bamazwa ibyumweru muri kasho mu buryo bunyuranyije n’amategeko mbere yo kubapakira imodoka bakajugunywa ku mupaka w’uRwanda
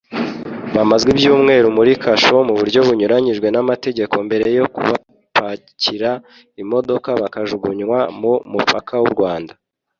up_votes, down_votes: 0, 2